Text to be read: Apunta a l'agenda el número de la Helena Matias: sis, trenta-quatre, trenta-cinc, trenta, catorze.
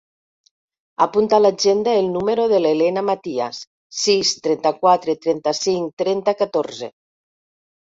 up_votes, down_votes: 1, 2